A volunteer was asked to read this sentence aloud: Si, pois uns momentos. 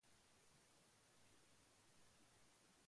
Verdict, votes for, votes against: rejected, 0, 2